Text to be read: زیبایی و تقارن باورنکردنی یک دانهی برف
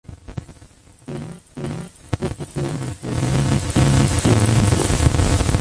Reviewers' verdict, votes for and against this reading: rejected, 0, 2